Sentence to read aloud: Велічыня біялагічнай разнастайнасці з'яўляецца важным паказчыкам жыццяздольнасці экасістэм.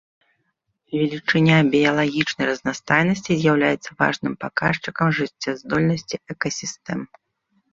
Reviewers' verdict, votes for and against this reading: accepted, 2, 0